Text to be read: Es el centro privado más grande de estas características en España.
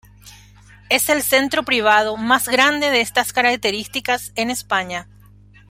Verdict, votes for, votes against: accepted, 2, 0